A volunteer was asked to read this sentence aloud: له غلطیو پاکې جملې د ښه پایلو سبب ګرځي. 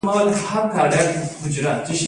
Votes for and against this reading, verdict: 1, 2, rejected